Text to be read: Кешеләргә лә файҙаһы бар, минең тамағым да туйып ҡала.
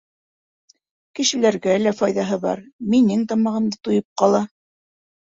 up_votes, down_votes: 2, 1